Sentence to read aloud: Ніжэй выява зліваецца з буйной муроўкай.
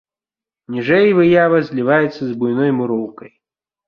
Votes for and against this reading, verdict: 2, 0, accepted